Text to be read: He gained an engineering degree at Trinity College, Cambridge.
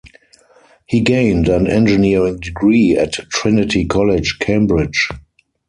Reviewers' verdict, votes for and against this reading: accepted, 4, 0